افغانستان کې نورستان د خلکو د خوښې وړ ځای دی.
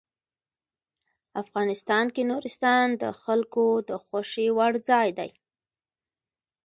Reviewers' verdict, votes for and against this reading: rejected, 1, 2